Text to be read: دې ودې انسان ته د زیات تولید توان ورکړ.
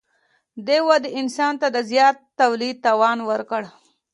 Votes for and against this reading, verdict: 2, 1, accepted